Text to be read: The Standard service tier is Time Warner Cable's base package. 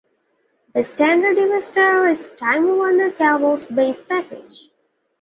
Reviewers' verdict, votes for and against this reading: rejected, 0, 2